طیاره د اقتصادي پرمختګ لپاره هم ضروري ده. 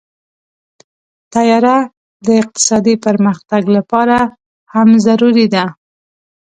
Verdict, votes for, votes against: accepted, 2, 0